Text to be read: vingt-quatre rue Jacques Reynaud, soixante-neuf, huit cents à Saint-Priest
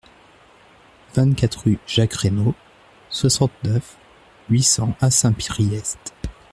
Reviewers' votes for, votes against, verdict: 0, 2, rejected